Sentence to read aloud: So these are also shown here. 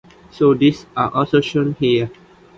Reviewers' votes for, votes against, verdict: 2, 1, accepted